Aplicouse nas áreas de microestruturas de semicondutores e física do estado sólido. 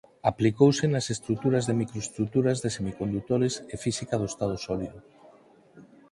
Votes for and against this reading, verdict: 0, 4, rejected